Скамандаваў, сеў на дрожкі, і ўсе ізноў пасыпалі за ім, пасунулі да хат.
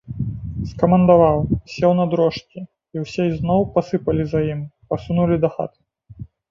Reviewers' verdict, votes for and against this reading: rejected, 2, 3